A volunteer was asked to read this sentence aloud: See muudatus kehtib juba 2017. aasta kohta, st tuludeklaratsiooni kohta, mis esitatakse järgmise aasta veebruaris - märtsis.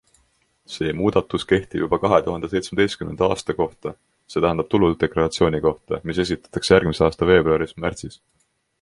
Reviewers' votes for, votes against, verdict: 0, 2, rejected